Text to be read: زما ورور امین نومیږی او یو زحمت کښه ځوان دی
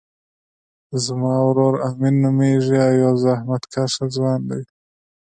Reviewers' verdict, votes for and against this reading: accepted, 2, 0